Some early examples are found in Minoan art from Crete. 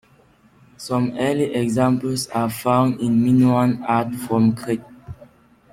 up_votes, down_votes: 2, 1